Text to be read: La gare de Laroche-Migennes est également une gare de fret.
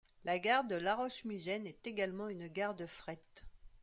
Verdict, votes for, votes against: accepted, 2, 1